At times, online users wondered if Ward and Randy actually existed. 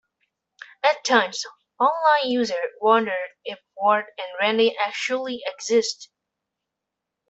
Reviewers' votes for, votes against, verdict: 0, 2, rejected